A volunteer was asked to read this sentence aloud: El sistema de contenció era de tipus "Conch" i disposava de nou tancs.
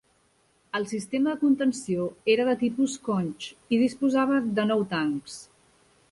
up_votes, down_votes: 2, 0